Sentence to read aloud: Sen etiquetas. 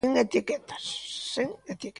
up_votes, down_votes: 0, 2